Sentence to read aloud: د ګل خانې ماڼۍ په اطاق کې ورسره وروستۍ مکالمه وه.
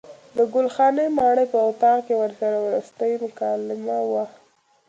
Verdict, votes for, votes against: accepted, 2, 1